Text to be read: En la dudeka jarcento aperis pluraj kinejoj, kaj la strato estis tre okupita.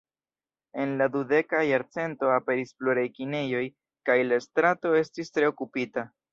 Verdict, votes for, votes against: accepted, 2, 1